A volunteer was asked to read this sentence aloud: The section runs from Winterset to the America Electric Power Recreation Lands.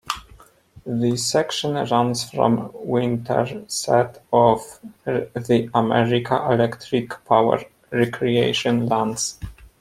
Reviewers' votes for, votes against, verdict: 1, 2, rejected